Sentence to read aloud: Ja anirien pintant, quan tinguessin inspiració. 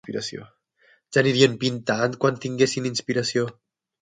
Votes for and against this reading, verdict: 3, 6, rejected